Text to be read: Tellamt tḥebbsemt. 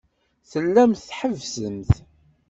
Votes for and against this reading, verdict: 2, 0, accepted